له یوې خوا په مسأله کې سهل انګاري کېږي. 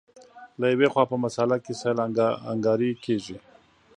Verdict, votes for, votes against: accepted, 2, 0